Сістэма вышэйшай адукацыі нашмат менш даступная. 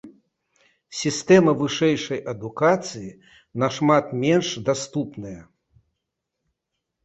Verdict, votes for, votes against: accepted, 2, 0